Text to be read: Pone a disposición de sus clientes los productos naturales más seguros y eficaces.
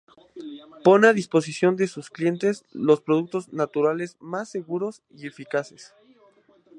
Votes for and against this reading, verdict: 2, 0, accepted